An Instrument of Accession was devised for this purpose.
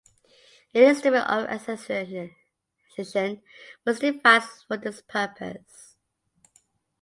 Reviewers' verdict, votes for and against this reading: rejected, 0, 2